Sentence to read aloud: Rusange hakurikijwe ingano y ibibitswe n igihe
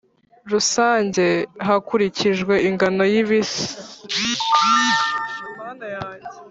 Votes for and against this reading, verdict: 1, 3, rejected